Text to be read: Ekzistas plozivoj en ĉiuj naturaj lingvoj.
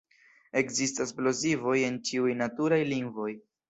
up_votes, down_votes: 2, 0